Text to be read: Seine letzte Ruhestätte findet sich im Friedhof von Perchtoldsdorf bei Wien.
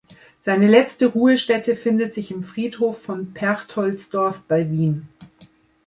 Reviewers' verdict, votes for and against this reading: accepted, 2, 0